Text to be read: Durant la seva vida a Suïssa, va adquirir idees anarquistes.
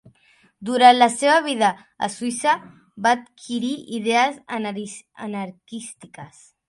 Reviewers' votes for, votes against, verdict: 0, 2, rejected